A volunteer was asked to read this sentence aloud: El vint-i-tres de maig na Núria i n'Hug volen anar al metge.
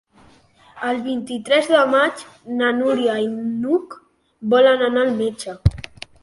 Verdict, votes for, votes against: accepted, 3, 0